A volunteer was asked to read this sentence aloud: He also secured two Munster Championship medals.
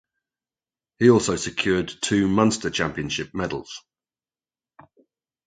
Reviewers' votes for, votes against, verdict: 2, 0, accepted